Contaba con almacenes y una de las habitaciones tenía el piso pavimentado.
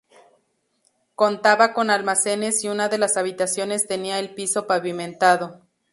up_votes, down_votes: 2, 0